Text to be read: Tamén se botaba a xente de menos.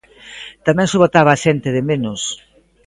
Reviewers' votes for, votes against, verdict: 1, 2, rejected